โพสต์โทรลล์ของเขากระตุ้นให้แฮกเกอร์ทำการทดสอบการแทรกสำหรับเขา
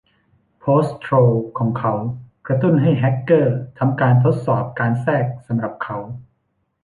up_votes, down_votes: 2, 0